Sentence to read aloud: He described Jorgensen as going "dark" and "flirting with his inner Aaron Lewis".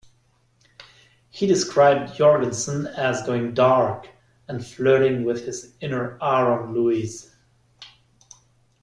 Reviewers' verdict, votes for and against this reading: rejected, 1, 2